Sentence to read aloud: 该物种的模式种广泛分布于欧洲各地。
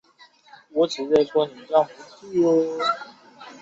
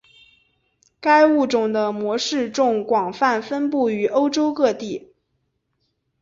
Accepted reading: second